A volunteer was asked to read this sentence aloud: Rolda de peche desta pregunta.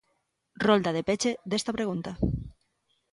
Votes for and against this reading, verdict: 2, 0, accepted